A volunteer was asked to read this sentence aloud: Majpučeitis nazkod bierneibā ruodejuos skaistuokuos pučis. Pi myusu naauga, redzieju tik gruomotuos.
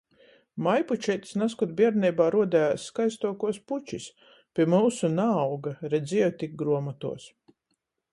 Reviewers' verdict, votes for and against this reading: accepted, 14, 0